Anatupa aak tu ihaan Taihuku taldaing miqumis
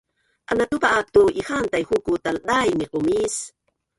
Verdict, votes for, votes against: rejected, 1, 5